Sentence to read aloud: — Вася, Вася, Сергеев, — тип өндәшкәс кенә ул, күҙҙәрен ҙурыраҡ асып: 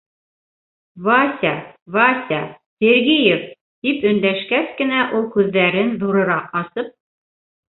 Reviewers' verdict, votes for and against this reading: accepted, 3, 1